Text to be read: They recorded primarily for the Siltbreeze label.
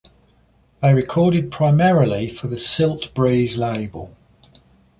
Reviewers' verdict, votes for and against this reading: accepted, 2, 0